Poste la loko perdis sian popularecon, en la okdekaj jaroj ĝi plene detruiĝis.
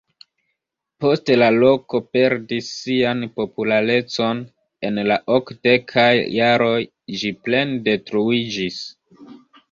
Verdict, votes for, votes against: rejected, 1, 2